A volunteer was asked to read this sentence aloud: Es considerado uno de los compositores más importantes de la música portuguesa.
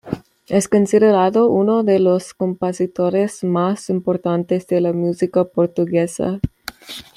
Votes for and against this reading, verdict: 2, 1, accepted